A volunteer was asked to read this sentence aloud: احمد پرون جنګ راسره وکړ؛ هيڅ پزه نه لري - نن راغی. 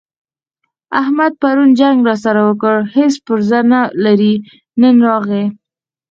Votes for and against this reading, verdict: 2, 4, rejected